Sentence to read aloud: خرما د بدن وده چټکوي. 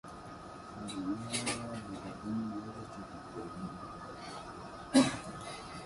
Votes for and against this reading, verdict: 1, 3, rejected